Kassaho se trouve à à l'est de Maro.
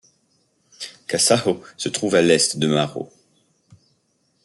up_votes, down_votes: 1, 2